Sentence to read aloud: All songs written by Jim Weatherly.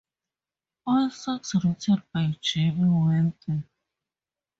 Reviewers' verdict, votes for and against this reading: rejected, 0, 2